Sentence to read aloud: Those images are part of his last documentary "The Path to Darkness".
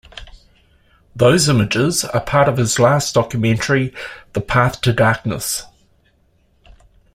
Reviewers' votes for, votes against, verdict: 1, 2, rejected